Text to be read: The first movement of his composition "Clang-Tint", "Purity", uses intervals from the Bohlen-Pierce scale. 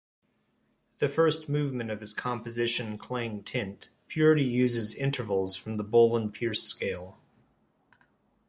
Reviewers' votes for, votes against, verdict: 2, 0, accepted